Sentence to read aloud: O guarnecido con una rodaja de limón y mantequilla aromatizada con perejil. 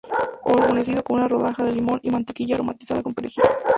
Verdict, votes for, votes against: accepted, 2, 0